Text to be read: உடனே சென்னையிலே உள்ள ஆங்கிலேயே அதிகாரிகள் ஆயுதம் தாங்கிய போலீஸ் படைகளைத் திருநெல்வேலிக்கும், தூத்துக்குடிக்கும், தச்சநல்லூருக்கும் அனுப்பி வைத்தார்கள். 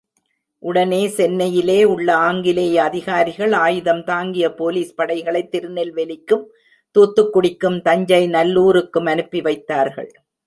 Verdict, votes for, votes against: rejected, 1, 2